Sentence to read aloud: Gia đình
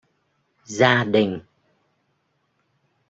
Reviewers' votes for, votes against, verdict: 1, 2, rejected